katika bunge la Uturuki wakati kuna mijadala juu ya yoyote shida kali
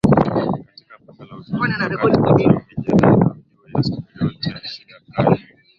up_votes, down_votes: 0, 8